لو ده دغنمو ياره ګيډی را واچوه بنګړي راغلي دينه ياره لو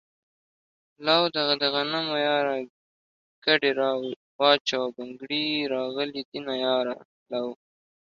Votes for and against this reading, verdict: 1, 2, rejected